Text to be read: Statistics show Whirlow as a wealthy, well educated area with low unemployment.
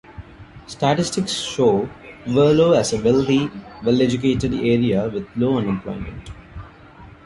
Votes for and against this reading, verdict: 1, 2, rejected